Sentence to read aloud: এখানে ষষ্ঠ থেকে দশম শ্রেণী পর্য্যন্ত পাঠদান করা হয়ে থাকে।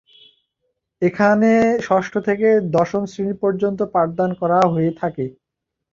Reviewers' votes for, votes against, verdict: 2, 0, accepted